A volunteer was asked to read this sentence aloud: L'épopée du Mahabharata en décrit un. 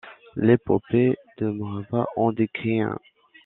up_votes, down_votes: 0, 2